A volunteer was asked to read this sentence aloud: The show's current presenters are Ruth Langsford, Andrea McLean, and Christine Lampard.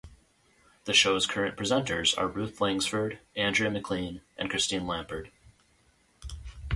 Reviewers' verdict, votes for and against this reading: accepted, 2, 0